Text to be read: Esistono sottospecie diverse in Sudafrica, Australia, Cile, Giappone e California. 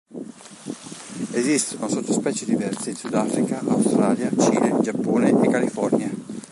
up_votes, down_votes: 1, 2